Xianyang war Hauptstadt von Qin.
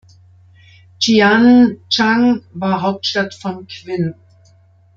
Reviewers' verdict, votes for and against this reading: rejected, 0, 2